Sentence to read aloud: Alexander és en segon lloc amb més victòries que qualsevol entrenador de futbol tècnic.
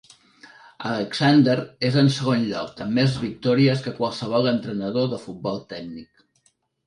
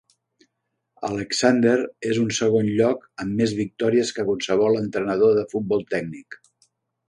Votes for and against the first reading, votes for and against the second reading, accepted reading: 3, 0, 1, 2, first